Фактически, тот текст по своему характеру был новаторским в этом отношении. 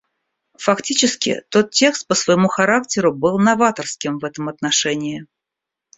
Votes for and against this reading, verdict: 1, 2, rejected